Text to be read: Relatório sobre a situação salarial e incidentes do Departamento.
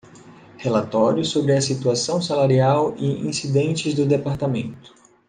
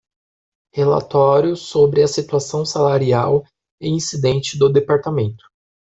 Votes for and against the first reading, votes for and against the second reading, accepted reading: 2, 0, 1, 2, first